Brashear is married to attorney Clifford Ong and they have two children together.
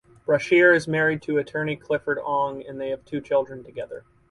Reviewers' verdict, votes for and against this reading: accepted, 4, 0